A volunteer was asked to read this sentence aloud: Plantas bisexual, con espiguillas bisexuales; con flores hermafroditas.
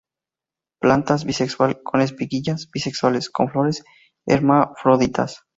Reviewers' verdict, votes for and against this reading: rejected, 0, 2